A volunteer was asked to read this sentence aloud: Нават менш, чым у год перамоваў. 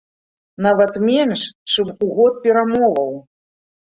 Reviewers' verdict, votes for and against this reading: accepted, 2, 0